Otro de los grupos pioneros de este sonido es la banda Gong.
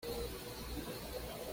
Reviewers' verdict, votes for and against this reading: rejected, 1, 2